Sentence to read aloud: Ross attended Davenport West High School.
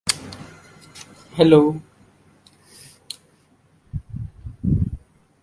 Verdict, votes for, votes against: rejected, 0, 2